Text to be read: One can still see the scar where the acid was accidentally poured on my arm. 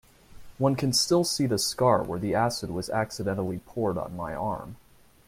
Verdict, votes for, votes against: accepted, 2, 0